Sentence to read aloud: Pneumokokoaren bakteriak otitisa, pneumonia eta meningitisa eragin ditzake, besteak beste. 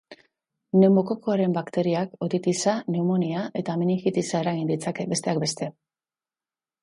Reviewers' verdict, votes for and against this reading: accepted, 2, 0